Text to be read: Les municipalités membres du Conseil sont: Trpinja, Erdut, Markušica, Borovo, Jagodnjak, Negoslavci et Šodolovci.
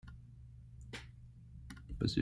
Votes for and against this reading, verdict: 1, 2, rejected